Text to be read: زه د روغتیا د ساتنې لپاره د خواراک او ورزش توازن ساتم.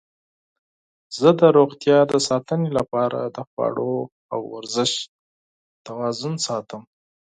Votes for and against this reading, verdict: 4, 0, accepted